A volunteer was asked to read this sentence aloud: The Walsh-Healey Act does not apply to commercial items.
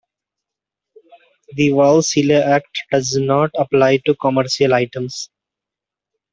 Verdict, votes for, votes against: rejected, 0, 2